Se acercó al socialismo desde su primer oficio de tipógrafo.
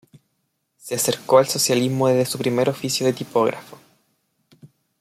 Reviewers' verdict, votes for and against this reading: accepted, 2, 0